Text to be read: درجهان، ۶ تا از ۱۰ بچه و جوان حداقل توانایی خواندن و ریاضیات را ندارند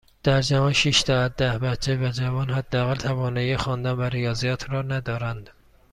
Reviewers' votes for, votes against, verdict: 0, 2, rejected